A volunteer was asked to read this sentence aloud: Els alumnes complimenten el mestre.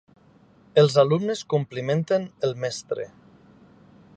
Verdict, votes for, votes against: accepted, 3, 0